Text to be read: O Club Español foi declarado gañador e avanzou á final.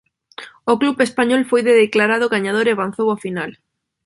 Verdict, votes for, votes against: accepted, 2, 0